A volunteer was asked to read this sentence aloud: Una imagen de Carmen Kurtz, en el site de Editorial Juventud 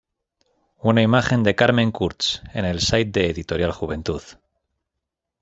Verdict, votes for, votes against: accepted, 2, 0